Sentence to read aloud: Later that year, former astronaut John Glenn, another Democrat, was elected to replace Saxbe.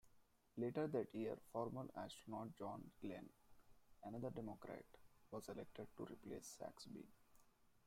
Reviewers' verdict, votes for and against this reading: rejected, 0, 2